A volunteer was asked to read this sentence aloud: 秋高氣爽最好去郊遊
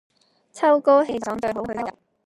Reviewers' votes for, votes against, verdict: 1, 2, rejected